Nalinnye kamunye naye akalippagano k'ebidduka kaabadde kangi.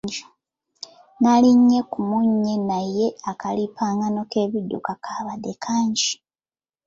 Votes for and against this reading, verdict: 0, 2, rejected